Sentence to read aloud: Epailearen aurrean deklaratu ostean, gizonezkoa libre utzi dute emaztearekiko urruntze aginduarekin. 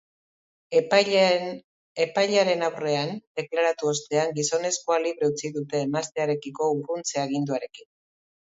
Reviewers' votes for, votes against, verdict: 3, 0, accepted